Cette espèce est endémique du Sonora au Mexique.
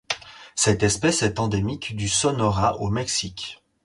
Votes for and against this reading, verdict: 0, 4, rejected